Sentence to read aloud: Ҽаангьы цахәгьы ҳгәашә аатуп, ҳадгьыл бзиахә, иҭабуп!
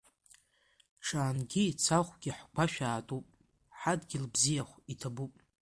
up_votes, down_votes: 2, 0